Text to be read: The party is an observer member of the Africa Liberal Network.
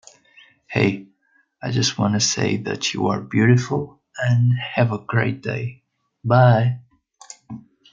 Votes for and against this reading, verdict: 0, 2, rejected